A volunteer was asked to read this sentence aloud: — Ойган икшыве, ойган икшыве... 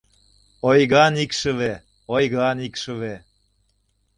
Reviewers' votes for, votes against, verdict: 2, 0, accepted